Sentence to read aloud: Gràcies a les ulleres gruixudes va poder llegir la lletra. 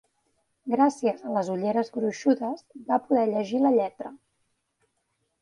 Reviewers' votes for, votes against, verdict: 3, 0, accepted